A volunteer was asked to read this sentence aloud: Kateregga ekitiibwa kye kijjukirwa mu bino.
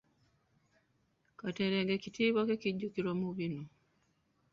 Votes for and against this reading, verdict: 1, 3, rejected